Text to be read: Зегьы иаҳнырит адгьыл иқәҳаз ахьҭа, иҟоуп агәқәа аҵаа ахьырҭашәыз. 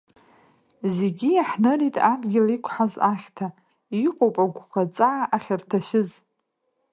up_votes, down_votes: 2, 0